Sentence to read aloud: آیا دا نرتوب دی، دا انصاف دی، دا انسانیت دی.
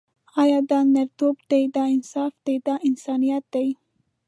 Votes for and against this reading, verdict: 2, 0, accepted